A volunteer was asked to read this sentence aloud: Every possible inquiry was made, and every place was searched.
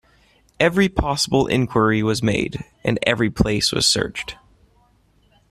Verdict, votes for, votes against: accepted, 2, 0